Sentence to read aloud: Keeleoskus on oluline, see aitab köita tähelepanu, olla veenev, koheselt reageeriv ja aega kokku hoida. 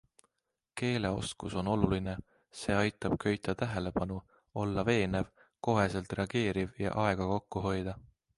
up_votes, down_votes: 2, 0